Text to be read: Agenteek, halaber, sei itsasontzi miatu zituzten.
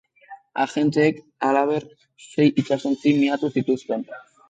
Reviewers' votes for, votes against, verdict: 2, 0, accepted